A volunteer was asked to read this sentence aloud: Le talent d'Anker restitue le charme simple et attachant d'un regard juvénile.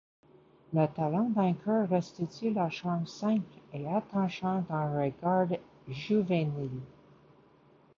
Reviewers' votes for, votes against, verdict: 2, 1, accepted